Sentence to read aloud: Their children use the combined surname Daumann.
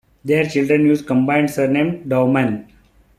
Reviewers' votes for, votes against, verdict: 1, 2, rejected